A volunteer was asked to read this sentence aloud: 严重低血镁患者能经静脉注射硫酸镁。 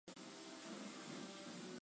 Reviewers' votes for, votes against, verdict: 2, 5, rejected